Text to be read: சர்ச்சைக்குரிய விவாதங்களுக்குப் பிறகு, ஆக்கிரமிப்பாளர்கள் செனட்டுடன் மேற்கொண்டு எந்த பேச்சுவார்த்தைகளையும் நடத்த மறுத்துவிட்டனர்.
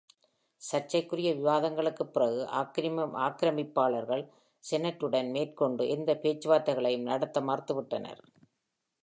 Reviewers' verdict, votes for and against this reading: rejected, 1, 2